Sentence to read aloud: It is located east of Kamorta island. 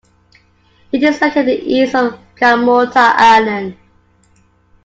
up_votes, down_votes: 2, 0